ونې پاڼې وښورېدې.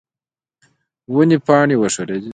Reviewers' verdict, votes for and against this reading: rejected, 1, 2